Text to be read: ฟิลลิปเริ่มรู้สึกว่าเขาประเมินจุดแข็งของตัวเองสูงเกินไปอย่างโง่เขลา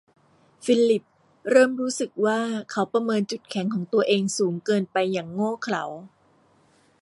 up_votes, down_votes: 2, 0